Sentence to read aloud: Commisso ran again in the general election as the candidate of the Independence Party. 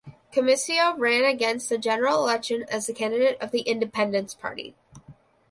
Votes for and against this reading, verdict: 1, 2, rejected